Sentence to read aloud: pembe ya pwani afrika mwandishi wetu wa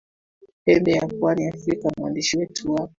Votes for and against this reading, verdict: 2, 1, accepted